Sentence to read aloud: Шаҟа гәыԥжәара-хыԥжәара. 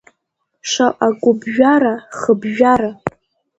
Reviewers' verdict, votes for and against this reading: accepted, 4, 0